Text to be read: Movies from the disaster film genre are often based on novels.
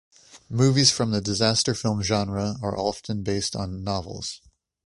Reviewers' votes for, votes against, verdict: 2, 0, accepted